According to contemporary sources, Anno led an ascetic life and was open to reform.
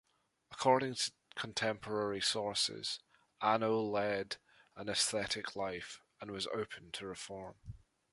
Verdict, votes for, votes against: rejected, 0, 3